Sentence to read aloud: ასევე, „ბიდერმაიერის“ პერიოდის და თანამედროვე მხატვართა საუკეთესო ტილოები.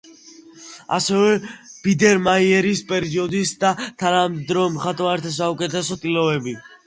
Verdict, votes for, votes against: rejected, 1, 2